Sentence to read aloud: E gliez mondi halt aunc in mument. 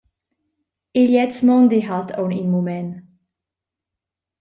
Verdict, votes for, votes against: accepted, 2, 0